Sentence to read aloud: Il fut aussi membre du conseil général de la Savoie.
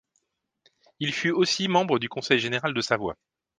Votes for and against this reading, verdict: 0, 2, rejected